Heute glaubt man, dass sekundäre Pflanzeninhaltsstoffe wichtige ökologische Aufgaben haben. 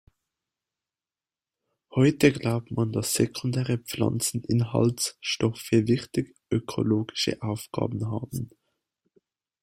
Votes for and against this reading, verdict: 1, 2, rejected